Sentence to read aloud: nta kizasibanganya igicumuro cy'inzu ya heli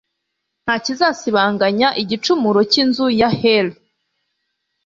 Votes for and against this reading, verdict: 3, 0, accepted